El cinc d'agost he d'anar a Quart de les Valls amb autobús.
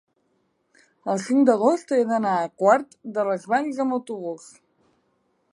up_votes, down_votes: 0, 2